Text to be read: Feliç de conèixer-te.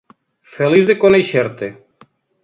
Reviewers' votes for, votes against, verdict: 2, 0, accepted